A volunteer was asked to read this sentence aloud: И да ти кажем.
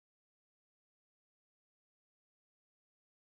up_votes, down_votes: 0, 2